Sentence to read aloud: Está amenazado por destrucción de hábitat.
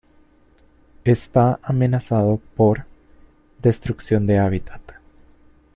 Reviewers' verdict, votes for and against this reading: rejected, 1, 2